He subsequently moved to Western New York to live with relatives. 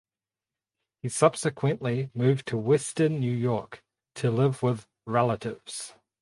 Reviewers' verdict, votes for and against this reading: accepted, 4, 0